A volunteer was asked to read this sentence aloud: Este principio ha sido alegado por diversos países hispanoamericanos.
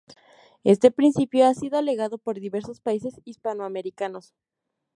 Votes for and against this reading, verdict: 0, 2, rejected